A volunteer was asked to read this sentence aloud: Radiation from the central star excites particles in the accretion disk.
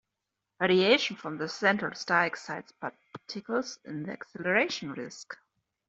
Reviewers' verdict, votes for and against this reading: rejected, 1, 2